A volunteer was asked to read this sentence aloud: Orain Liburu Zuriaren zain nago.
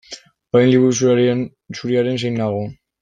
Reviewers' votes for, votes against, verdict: 0, 2, rejected